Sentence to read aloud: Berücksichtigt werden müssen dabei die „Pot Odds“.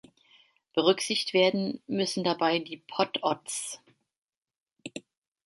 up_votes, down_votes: 1, 2